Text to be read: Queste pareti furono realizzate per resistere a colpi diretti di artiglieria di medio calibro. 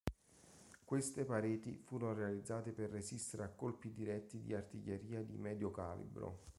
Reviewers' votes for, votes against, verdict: 2, 1, accepted